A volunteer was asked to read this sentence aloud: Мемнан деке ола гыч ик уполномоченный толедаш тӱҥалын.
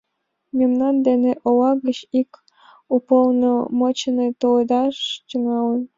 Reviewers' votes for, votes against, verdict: 2, 1, accepted